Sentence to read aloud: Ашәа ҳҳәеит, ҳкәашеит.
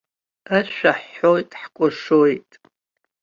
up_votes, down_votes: 1, 2